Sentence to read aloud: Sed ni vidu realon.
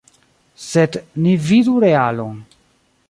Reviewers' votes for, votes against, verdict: 0, 2, rejected